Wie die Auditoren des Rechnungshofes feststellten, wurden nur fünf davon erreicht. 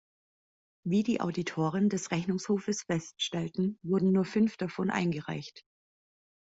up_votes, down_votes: 1, 2